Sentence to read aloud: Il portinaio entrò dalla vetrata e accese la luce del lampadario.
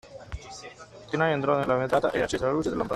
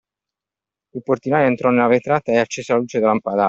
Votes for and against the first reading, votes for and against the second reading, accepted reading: 0, 2, 2, 1, second